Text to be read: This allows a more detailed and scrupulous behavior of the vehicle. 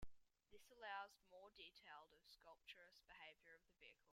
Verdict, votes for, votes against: rejected, 1, 2